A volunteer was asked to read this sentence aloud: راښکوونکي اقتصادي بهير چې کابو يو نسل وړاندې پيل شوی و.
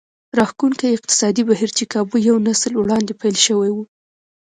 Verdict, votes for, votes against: accepted, 2, 0